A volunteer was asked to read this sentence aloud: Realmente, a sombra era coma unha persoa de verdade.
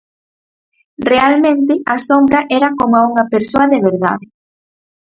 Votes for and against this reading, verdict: 4, 0, accepted